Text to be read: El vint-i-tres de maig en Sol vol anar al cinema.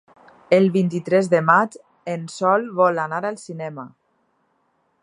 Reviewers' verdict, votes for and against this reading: accepted, 2, 0